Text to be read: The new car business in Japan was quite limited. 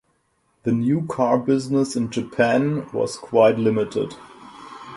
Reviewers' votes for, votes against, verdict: 4, 0, accepted